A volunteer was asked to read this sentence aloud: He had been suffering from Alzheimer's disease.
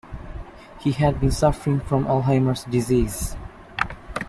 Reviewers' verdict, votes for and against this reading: rejected, 0, 2